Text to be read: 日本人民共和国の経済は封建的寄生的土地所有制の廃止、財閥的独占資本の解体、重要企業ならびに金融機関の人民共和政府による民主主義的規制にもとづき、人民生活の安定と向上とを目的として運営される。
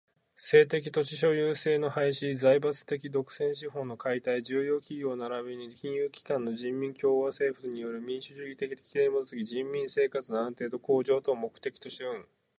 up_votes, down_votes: 4, 0